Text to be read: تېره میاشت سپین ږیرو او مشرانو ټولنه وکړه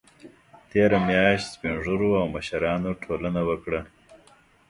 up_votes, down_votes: 2, 0